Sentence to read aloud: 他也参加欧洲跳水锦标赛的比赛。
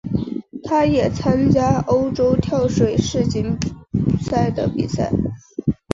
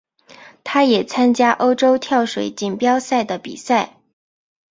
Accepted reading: second